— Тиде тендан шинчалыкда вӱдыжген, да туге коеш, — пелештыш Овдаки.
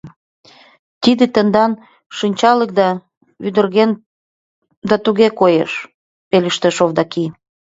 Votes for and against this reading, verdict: 1, 2, rejected